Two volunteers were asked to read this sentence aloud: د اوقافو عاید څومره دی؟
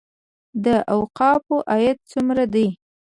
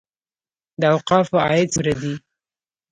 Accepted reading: second